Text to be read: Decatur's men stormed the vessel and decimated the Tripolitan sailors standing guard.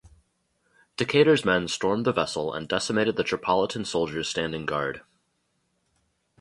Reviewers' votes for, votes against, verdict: 0, 2, rejected